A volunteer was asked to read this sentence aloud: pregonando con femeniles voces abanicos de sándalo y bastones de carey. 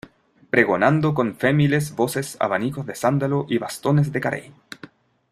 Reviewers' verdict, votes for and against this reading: rejected, 0, 2